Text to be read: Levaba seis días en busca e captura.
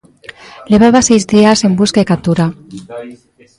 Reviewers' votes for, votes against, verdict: 0, 2, rejected